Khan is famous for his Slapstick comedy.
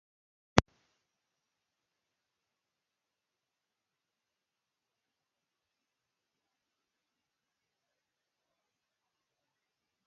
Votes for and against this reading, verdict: 0, 2, rejected